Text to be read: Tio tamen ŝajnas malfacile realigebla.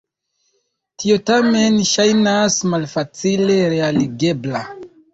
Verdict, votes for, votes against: rejected, 1, 2